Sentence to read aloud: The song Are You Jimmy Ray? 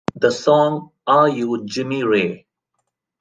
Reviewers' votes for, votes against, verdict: 2, 0, accepted